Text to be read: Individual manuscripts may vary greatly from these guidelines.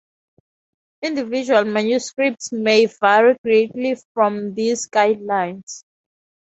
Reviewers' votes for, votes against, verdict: 4, 0, accepted